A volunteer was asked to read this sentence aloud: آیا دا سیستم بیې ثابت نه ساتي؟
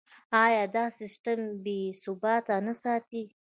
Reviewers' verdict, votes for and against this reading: accepted, 2, 0